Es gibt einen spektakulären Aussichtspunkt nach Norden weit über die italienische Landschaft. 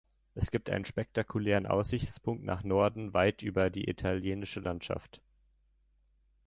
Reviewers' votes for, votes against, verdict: 2, 0, accepted